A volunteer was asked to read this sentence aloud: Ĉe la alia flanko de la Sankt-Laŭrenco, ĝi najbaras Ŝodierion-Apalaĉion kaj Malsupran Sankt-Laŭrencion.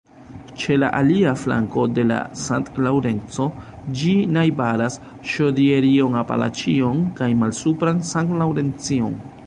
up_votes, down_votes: 1, 4